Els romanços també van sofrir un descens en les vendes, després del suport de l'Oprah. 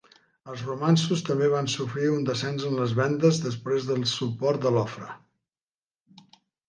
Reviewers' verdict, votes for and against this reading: rejected, 1, 2